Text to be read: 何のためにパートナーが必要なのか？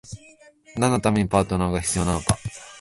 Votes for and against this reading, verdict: 17, 3, accepted